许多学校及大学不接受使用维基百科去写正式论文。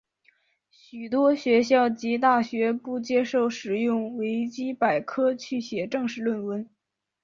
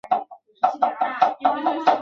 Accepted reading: first